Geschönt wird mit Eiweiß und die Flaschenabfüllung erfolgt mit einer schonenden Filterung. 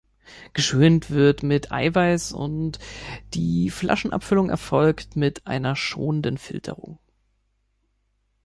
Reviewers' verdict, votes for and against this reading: accepted, 2, 0